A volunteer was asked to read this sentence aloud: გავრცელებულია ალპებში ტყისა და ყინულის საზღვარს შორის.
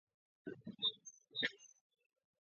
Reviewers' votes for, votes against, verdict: 0, 2, rejected